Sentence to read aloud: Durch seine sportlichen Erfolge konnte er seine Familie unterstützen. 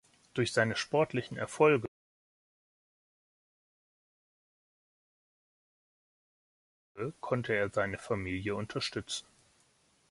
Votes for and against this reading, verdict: 1, 2, rejected